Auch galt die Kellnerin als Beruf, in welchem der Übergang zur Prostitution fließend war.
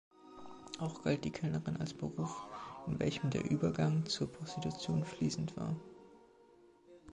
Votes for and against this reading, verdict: 2, 1, accepted